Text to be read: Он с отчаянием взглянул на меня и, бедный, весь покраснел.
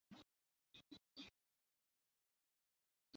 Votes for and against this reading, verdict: 0, 2, rejected